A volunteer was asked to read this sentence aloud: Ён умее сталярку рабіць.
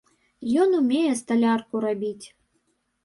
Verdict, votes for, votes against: accepted, 2, 0